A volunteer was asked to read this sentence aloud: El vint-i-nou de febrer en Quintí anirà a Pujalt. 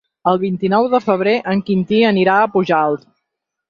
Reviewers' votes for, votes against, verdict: 6, 0, accepted